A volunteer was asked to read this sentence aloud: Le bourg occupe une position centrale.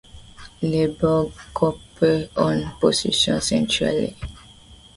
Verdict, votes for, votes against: rejected, 1, 2